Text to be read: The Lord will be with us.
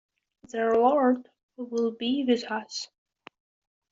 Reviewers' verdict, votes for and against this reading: accepted, 2, 0